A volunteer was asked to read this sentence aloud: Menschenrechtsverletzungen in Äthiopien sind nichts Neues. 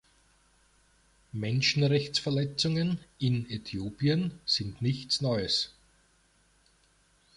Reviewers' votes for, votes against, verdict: 1, 2, rejected